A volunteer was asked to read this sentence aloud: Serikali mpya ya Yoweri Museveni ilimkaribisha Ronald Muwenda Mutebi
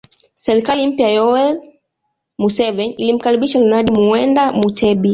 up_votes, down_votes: 2, 0